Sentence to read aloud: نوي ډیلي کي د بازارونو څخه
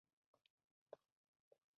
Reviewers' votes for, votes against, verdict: 0, 2, rejected